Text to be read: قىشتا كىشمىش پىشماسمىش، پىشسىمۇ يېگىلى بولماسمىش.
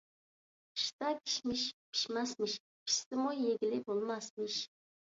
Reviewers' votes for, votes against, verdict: 2, 0, accepted